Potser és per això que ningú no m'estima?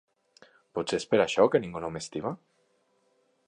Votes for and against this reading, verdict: 3, 1, accepted